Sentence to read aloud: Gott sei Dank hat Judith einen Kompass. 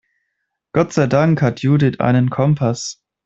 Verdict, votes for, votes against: accepted, 2, 0